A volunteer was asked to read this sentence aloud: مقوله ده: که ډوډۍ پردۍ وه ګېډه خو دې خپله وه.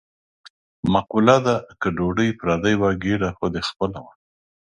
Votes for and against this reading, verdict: 2, 0, accepted